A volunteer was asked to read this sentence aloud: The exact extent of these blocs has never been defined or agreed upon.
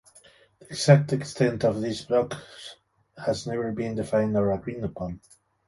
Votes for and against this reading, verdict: 1, 2, rejected